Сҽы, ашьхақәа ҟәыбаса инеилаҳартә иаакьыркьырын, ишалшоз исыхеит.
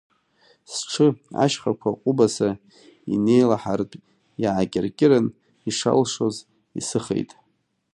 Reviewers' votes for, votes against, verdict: 2, 0, accepted